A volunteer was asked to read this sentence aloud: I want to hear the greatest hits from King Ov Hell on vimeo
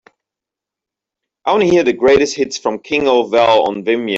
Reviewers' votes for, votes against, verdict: 0, 2, rejected